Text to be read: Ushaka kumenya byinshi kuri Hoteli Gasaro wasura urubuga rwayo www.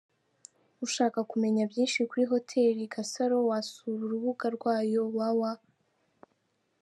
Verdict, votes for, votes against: rejected, 1, 2